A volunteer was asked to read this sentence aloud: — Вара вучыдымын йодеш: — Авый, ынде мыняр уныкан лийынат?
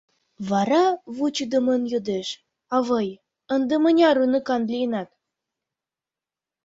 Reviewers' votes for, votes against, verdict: 2, 0, accepted